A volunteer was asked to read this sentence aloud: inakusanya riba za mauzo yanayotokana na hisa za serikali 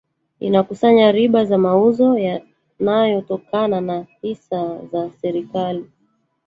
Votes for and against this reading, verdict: 6, 11, rejected